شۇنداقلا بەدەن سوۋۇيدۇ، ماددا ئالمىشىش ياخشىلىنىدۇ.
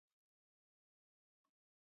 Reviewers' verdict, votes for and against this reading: rejected, 0, 2